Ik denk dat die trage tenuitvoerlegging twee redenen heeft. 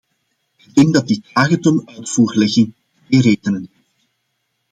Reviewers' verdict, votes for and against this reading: rejected, 0, 2